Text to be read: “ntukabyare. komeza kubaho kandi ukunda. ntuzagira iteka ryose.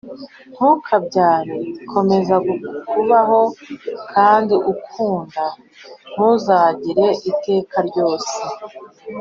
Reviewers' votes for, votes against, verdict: 1, 2, rejected